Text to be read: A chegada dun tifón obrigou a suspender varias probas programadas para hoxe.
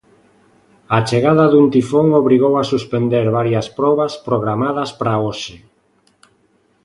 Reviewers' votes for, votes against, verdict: 2, 0, accepted